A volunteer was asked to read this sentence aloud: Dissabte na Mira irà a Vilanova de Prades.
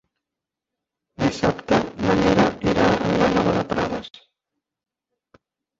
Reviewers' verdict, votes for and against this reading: rejected, 0, 2